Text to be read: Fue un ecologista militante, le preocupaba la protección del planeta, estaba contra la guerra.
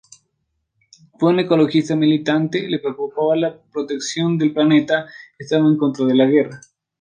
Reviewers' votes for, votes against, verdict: 0, 2, rejected